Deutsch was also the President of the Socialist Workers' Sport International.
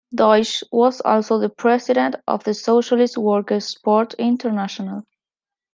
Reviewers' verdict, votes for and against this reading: accepted, 2, 0